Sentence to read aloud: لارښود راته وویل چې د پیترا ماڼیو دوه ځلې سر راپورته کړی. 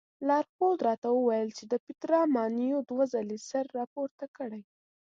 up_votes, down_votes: 2, 0